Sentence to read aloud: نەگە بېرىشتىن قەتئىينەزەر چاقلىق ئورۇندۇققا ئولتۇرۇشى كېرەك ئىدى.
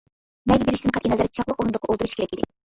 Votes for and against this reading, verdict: 0, 2, rejected